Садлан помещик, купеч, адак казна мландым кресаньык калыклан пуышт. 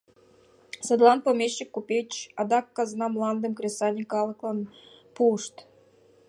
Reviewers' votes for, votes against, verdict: 3, 0, accepted